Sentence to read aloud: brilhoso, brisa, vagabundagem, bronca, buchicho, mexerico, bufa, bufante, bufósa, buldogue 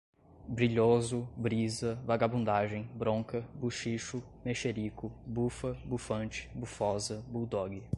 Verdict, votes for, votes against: accepted, 2, 0